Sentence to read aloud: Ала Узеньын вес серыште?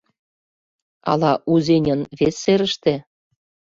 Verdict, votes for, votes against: accepted, 2, 0